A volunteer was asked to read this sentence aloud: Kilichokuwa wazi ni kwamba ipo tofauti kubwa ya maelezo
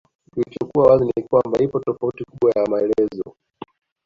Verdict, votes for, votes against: accepted, 2, 0